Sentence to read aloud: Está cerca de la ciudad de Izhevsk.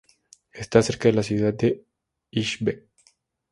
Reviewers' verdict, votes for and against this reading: rejected, 2, 2